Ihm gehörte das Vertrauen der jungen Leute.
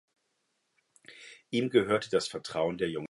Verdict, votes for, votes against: rejected, 0, 2